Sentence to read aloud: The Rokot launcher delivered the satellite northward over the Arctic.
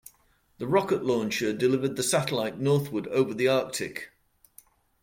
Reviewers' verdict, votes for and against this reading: rejected, 1, 2